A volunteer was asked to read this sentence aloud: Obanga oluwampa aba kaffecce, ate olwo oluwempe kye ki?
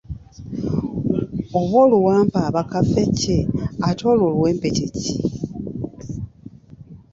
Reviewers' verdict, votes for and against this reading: rejected, 1, 2